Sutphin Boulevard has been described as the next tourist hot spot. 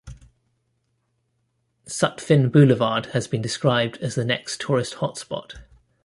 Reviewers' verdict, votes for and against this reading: accepted, 2, 0